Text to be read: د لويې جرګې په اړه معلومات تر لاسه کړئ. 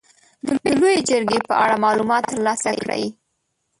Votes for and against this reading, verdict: 0, 2, rejected